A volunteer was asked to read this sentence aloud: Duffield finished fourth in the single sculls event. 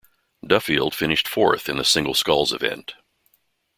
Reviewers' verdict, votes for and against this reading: accepted, 2, 0